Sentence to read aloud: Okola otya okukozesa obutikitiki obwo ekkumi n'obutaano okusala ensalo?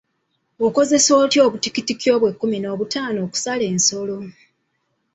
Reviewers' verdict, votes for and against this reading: rejected, 1, 2